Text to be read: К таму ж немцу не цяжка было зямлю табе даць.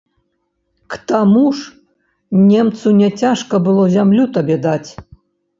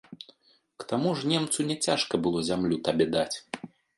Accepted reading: second